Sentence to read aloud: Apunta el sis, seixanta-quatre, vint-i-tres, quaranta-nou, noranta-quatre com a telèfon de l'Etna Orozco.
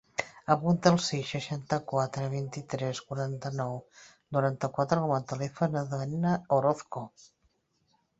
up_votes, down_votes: 3, 0